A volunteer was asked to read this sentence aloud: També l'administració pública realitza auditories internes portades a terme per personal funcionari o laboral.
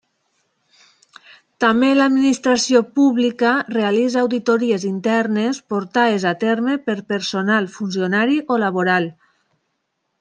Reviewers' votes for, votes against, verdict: 3, 1, accepted